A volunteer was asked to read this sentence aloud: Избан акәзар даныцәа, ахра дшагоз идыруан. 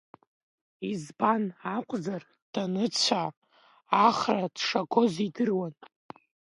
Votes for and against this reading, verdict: 1, 2, rejected